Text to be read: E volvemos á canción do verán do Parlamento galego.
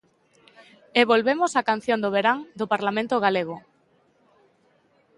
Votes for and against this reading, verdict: 2, 0, accepted